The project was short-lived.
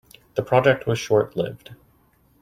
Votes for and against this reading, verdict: 2, 0, accepted